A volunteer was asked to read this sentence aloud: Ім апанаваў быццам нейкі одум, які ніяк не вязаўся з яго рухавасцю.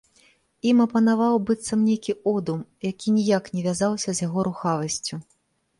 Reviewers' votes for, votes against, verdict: 2, 0, accepted